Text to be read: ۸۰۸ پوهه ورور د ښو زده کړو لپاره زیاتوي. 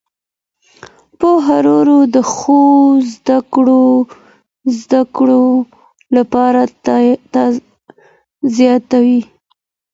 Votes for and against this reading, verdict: 0, 2, rejected